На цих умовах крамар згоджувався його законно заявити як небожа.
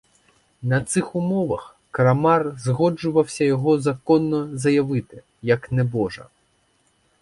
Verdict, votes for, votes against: rejected, 2, 4